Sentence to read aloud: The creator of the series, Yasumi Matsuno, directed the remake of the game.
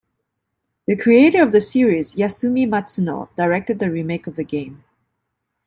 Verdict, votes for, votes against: accepted, 2, 0